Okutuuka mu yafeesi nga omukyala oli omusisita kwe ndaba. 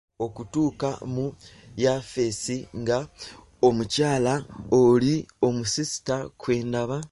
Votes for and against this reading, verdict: 1, 2, rejected